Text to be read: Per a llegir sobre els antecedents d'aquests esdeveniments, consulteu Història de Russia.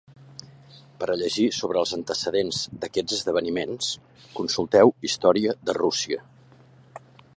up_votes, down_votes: 4, 0